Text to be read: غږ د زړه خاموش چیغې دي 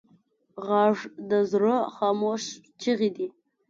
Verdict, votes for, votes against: accepted, 2, 0